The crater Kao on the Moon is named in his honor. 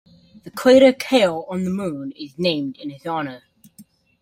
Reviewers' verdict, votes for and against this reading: accepted, 2, 1